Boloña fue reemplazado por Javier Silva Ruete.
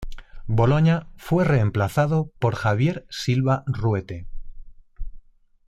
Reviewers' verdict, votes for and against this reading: accepted, 2, 0